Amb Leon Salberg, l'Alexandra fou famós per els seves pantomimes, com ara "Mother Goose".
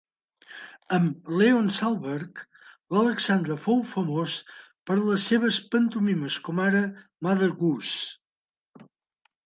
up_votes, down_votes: 2, 0